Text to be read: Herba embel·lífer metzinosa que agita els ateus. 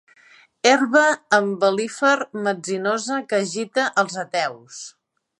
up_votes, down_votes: 2, 0